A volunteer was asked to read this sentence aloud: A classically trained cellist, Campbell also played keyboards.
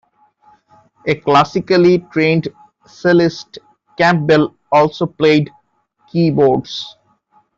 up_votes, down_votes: 1, 3